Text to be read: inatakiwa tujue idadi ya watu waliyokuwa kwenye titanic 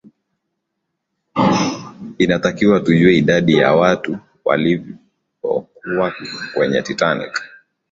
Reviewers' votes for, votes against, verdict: 2, 0, accepted